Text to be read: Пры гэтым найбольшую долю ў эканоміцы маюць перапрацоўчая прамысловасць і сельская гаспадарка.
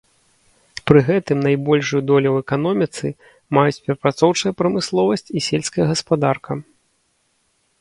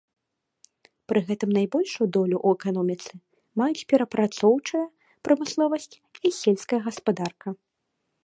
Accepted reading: second